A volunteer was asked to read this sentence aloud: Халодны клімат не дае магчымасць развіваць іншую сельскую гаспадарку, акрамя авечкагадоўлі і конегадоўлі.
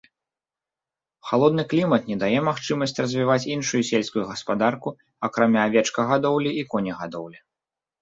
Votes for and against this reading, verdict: 2, 0, accepted